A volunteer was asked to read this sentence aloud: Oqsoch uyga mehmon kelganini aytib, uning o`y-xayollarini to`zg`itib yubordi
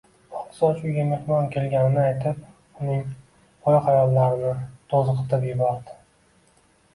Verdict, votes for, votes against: accepted, 2, 0